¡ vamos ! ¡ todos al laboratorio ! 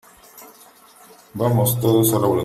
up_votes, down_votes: 0, 3